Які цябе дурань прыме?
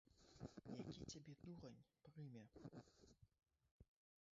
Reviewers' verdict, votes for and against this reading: rejected, 2, 3